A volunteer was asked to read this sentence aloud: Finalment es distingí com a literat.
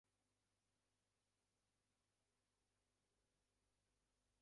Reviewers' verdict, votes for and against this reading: rejected, 0, 4